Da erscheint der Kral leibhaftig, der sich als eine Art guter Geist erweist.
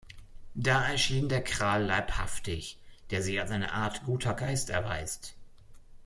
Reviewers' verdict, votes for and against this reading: rejected, 0, 2